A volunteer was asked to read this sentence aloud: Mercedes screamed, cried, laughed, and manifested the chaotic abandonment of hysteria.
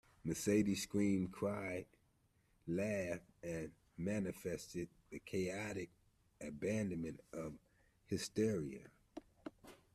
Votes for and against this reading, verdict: 2, 0, accepted